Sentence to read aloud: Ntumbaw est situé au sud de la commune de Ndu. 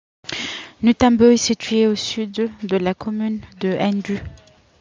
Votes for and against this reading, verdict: 0, 2, rejected